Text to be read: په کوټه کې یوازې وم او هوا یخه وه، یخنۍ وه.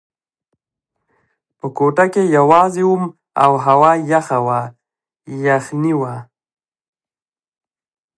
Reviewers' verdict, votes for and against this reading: accepted, 2, 0